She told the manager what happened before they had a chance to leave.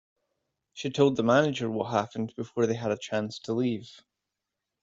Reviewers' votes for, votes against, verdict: 2, 0, accepted